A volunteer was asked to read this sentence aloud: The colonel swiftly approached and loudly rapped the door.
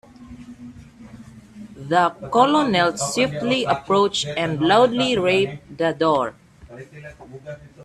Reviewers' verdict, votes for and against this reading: rejected, 1, 2